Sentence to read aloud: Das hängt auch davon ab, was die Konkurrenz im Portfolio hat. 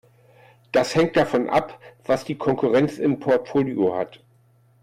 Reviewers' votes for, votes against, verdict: 1, 2, rejected